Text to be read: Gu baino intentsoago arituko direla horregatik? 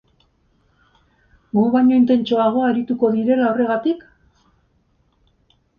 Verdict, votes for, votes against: accepted, 4, 0